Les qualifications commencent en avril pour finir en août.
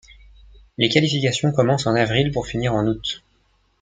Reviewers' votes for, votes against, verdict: 1, 2, rejected